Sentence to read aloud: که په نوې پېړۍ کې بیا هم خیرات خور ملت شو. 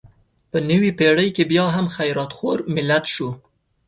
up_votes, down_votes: 0, 2